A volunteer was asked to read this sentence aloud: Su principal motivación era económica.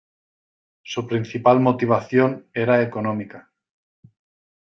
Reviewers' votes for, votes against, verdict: 2, 0, accepted